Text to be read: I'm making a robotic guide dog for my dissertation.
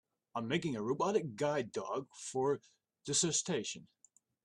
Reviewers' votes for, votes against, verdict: 0, 2, rejected